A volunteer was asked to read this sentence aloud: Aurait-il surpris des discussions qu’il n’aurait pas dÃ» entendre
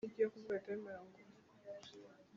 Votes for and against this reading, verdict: 1, 2, rejected